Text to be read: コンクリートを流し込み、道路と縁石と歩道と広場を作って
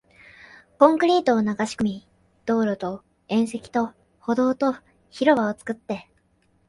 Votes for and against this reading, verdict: 3, 0, accepted